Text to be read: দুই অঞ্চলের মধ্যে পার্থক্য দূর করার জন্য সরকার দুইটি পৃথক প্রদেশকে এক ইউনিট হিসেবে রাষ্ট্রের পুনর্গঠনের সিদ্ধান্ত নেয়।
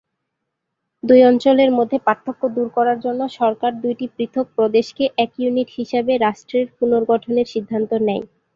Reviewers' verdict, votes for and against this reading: accepted, 2, 0